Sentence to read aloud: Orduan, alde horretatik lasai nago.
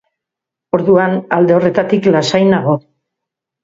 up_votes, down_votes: 2, 0